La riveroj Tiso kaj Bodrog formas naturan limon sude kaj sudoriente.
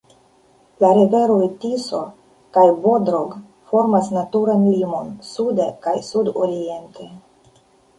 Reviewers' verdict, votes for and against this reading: rejected, 0, 2